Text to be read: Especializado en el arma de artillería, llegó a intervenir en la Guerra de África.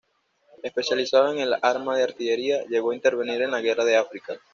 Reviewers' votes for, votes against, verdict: 2, 0, accepted